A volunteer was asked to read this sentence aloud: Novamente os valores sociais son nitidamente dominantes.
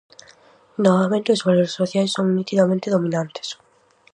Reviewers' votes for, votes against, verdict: 4, 0, accepted